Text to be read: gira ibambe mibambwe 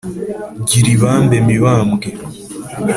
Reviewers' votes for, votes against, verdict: 3, 0, accepted